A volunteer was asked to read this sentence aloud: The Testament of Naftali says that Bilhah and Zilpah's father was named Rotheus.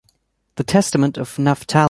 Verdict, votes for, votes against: rejected, 1, 2